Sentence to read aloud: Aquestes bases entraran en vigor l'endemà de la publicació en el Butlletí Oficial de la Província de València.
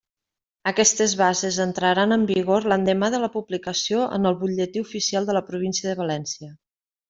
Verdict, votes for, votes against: accepted, 3, 0